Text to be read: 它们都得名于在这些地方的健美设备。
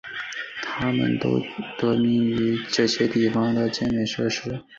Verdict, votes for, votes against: rejected, 0, 2